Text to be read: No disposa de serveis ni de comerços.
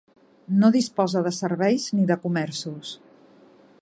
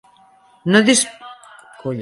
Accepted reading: first